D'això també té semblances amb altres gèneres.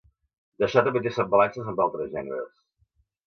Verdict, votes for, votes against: rejected, 1, 2